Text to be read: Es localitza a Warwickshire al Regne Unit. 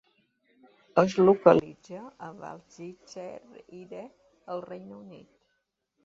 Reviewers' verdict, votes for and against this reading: rejected, 0, 3